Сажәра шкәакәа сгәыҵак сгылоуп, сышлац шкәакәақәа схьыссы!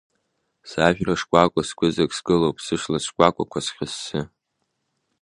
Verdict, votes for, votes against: accepted, 2, 0